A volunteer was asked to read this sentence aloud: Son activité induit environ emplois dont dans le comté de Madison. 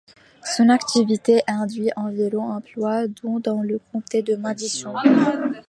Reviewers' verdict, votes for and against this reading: rejected, 0, 2